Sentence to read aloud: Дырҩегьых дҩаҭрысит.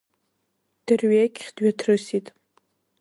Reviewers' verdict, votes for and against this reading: rejected, 1, 2